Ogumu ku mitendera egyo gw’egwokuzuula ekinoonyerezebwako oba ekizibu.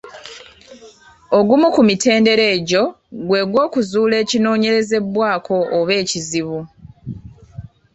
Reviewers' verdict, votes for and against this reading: accepted, 2, 0